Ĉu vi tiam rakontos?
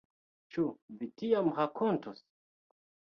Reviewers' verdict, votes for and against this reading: accepted, 2, 0